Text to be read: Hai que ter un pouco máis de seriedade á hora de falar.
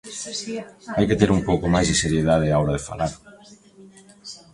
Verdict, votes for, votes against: accepted, 2, 0